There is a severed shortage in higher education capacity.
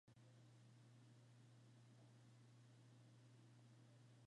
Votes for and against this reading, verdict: 0, 2, rejected